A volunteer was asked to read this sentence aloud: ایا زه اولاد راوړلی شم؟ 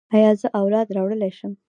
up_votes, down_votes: 2, 1